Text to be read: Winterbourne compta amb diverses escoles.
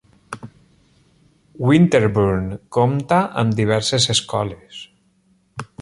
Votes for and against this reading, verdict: 2, 0, accepted